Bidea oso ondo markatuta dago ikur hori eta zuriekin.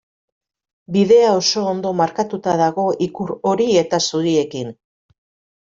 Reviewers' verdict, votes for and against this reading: accepted, 2, 0